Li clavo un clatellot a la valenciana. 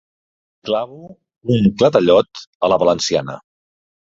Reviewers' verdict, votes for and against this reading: rejected, 1, 2